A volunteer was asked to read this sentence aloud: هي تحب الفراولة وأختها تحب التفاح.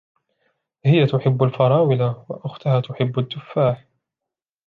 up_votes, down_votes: 2, 0